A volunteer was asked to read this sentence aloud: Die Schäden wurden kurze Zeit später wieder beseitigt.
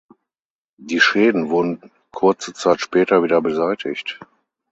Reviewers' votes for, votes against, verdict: 6, 0, accepted